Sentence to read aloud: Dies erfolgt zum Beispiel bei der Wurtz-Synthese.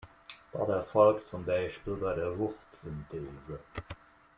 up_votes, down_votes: 1, 2